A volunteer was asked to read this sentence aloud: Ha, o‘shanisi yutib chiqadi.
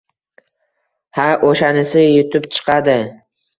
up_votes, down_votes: 2, 0